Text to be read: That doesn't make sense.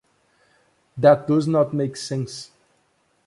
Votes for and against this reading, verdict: 2, 1, accepted